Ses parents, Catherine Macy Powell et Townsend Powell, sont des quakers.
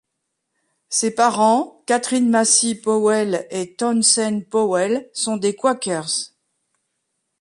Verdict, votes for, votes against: rejected, 1, 2